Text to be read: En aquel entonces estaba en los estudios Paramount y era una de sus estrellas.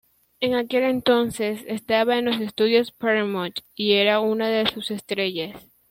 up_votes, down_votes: 2, 1